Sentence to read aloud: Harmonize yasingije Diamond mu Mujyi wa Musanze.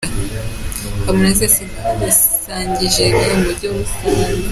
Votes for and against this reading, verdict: 0, 2, rejected